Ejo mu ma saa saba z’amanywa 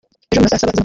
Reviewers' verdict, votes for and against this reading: rejected, 0, 2